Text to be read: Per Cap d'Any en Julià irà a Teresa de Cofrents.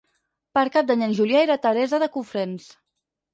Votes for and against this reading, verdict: 0, 4, rejected